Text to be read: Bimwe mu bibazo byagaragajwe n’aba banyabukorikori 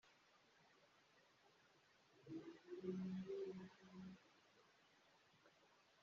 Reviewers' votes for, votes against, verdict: 1, 2, rejected